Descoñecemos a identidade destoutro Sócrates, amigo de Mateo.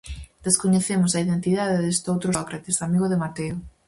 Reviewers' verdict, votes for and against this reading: rejected, 2, 2